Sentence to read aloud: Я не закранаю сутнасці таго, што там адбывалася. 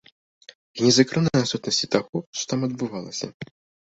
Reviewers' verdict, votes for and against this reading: rejected, 0, 2